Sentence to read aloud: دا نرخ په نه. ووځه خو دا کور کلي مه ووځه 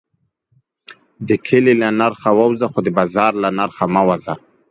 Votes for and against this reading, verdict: 2, 1, accepted